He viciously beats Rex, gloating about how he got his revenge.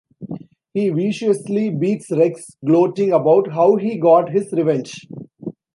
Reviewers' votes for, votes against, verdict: 2, 0, accepted